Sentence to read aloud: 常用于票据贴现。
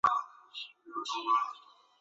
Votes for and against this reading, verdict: 1, 2, rejected